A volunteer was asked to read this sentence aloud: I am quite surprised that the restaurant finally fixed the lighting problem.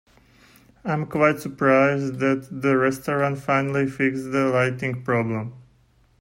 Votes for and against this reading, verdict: 2, 0, accepted